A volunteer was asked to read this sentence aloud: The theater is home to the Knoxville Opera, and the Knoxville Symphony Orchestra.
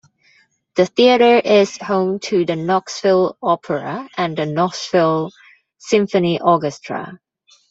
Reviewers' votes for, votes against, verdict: 2, 0, accepted